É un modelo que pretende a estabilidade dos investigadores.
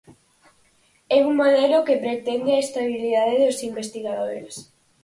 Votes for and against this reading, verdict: 4, 0, accepted